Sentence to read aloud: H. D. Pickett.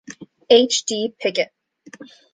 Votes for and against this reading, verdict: 2, 0, accepted